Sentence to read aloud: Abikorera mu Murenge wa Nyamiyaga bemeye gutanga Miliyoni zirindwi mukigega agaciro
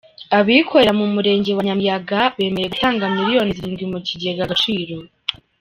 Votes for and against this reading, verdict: 3, 0, accepted